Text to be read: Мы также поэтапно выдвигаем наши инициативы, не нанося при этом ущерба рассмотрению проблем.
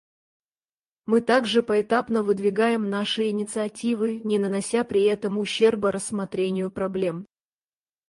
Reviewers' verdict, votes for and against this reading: rejected, 2, 4